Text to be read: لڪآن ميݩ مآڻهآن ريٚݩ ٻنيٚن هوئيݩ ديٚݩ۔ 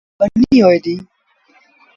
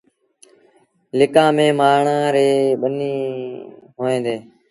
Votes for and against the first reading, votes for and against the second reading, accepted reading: 1, 2, 2, 0, second